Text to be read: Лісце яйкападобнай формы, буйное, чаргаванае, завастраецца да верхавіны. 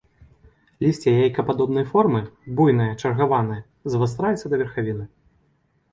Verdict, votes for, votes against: rejected, 1, 2